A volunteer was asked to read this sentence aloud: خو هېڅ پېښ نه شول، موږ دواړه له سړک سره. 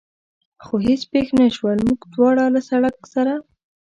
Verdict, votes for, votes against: accepted, 2, 0